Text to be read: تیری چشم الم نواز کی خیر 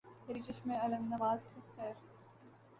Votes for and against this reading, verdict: 2, 1, accepted